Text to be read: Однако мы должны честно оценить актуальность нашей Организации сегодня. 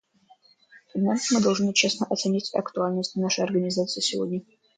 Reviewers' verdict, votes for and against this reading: rejected, 0, 2